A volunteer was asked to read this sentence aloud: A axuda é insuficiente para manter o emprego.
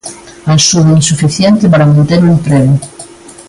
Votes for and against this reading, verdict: 0, 2, rejected